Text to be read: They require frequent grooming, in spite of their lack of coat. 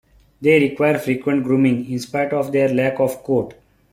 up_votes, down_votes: 2, 0